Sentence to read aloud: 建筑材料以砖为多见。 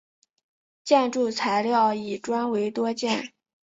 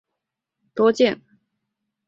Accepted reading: first